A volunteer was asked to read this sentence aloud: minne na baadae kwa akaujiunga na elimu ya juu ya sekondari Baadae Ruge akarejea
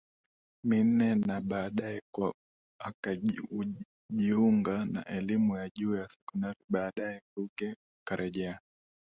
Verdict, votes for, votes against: rejected, 1, 2